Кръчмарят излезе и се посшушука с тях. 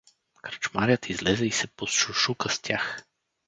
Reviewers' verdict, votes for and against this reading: accepted, 4, 0